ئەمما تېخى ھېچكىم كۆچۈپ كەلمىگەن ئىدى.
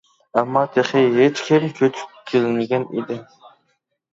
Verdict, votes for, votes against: rejected, 0, 2